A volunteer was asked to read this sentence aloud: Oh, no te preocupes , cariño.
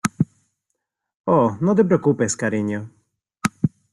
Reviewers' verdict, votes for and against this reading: accepted, 2, 0